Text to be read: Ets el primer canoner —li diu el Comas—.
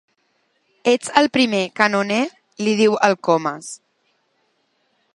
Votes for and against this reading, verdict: 3, 0, accepted